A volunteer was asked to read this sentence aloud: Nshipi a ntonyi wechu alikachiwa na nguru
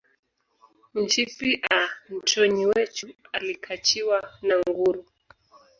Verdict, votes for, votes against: accepted, 2, 0